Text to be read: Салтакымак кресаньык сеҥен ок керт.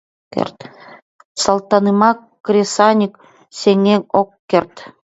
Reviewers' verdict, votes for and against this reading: accepted, 2, 0